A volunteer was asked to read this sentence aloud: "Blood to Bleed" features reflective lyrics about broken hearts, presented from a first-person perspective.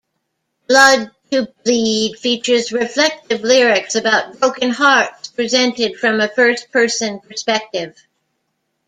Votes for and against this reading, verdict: 2, 1, accepted